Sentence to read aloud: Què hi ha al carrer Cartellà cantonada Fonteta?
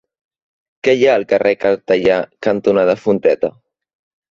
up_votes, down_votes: 1, 2